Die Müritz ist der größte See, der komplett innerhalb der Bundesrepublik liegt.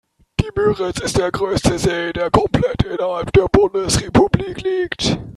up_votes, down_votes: 2, 1